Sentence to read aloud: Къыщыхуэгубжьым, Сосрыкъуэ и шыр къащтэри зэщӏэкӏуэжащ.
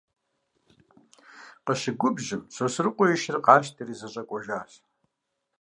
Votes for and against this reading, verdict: 0, 2, rejected